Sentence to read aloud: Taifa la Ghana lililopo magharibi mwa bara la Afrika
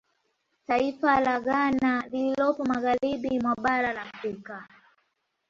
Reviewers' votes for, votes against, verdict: 1, 2, rejected